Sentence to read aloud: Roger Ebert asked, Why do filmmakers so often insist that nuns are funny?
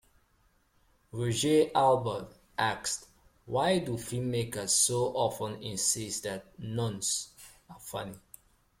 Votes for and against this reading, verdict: 1, 2, rejected